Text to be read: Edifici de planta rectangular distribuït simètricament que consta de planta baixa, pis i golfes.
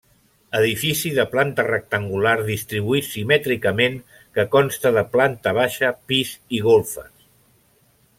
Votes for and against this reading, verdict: 3, 0, accepted